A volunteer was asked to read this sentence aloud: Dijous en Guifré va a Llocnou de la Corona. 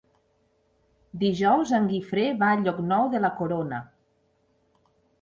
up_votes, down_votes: 3, 0